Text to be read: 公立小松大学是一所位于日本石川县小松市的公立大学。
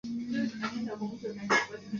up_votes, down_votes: 2, 0